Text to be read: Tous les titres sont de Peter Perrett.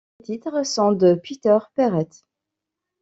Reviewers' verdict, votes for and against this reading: rejected, 0, 2